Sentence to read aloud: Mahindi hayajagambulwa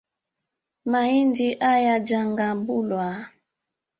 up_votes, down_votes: 2, 1